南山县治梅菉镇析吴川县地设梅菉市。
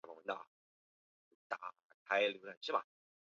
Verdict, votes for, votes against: accepted, 3, 1